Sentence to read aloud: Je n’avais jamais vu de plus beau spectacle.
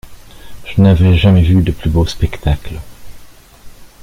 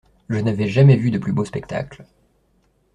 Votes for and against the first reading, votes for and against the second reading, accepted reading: 2, 0, 0, 2, first